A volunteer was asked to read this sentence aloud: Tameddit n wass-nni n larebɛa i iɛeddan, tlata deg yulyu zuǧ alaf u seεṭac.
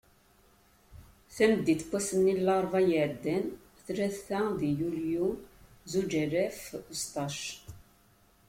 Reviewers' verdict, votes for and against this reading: accepted, 2, 0